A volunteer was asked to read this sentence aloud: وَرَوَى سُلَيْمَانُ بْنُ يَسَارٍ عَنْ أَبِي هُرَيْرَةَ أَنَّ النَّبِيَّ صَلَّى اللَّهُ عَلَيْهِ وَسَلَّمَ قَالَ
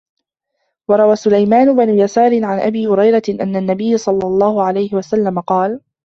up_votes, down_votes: 1, 2